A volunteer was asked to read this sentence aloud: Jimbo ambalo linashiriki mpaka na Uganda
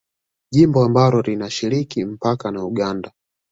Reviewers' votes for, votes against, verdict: 2, 1, accepted